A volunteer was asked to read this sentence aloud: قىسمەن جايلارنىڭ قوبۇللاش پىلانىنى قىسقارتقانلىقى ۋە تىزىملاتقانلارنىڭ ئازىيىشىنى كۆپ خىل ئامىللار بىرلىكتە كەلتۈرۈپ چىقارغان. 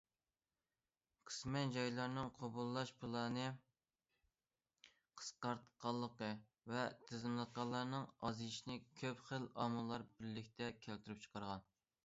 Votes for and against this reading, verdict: 0, 2, rejected